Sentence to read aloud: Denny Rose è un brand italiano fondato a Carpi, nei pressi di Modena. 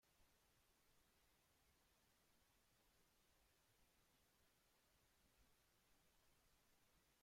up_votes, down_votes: 0, 2